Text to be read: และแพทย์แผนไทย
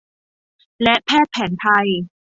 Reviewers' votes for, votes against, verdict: 2, 0, accepted